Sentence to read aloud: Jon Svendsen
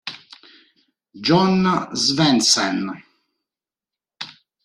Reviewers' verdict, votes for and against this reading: accepted, 2, 1